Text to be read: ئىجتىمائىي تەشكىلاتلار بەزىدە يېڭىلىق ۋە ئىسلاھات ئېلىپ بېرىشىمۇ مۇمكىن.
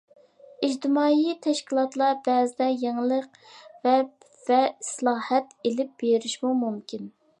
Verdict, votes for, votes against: rejected, 0, 2